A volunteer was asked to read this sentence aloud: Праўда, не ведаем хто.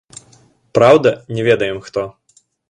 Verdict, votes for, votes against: accepted, 2, 0